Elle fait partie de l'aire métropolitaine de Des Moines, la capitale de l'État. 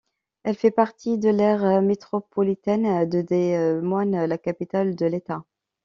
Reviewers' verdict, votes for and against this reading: rejected, 0, 2